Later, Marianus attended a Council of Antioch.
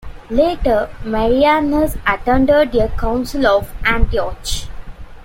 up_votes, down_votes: 0, 2